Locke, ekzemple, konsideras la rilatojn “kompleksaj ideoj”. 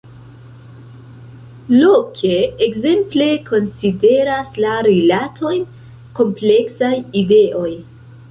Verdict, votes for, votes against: rejected, 0, 2